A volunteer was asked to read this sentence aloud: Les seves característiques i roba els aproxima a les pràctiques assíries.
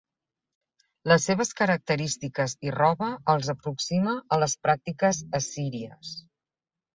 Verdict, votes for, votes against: accepted, 4, 0